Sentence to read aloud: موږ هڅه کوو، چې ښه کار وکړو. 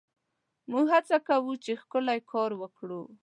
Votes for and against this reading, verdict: 1, 2, rejected